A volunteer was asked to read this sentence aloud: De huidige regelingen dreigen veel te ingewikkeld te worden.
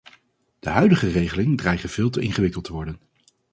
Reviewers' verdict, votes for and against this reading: rejected, 2, 2